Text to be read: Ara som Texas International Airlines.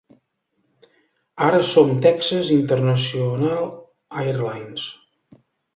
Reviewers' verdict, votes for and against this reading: accepted, 2, 0